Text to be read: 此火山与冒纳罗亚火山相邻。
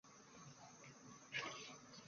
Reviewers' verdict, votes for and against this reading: rejected, 2, 3